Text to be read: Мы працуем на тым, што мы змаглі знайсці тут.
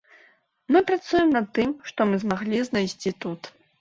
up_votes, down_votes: 2, 0